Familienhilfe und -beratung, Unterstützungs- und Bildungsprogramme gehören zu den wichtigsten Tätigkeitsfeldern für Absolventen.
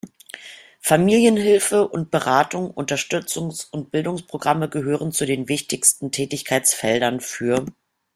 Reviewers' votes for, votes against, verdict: 0, 2, rejected